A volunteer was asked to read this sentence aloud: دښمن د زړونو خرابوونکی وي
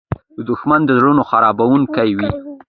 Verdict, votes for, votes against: accepted, 2, 1